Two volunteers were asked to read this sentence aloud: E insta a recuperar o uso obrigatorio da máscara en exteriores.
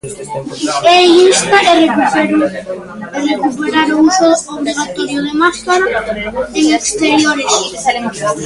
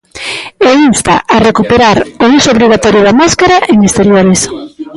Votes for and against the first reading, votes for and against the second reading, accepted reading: 0, 2, 2, 1, second